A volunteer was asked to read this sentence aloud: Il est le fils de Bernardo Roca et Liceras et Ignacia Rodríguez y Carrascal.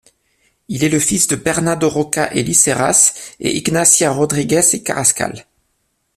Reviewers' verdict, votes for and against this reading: rejected, 1, 2